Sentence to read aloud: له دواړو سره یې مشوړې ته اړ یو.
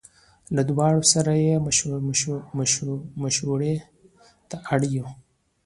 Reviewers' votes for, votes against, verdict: 2, 0, accepted